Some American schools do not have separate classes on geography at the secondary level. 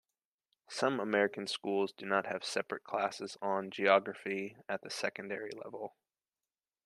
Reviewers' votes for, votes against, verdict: 2, 0, accepted